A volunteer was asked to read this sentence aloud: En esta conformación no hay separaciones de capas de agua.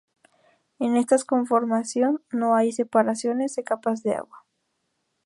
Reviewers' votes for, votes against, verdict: 0, 2, rejected